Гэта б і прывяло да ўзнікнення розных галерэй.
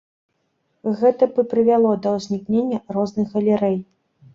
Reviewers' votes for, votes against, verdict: 2, 0, accepted